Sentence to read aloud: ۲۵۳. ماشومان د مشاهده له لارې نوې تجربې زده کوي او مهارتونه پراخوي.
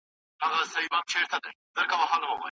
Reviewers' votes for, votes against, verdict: 0, 2, rejected